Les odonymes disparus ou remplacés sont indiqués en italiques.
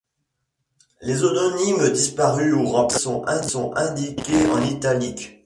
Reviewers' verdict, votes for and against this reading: rejected, 0, 2